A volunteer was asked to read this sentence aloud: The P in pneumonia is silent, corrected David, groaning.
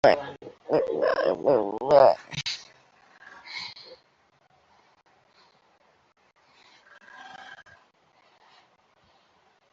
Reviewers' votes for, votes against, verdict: 0, 2, rejected